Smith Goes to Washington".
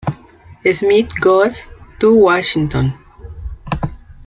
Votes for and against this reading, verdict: 1, 2, rejected